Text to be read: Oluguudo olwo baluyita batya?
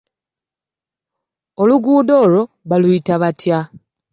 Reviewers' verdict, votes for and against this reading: accepted, 2, 0